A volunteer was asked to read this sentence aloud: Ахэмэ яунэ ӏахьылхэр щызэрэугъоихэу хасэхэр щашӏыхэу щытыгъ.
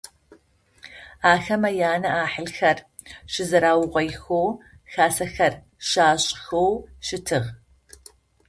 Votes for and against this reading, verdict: 0, 2, rejected